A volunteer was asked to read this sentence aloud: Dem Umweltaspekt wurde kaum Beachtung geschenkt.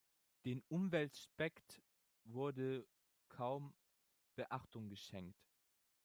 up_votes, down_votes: 0, 2